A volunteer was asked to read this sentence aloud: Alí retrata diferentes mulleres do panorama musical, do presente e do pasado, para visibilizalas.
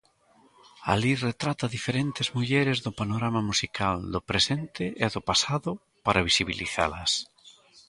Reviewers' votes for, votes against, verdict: 2, 0, accepted